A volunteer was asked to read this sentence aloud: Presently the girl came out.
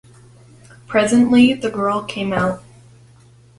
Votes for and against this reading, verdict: 2, 0, accepted